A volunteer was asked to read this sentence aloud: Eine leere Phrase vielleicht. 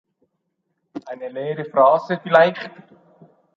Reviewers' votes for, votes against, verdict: 2, 0, accepted